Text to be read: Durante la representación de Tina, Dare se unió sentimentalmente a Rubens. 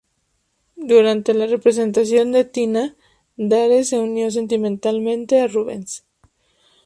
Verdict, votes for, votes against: rejected, 2, 2